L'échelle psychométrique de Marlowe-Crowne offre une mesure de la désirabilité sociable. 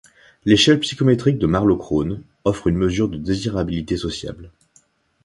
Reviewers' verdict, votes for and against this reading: rejected, 0, 2